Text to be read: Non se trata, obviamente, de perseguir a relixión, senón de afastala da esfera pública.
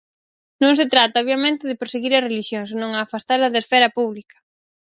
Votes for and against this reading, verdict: 0, 4, rejected